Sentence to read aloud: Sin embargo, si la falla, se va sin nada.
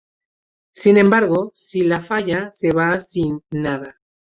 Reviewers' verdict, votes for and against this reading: accepted, 2, 0